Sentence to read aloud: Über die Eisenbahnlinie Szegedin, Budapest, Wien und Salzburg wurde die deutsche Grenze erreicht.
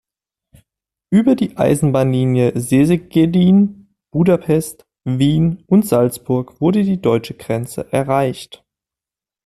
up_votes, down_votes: 2, 0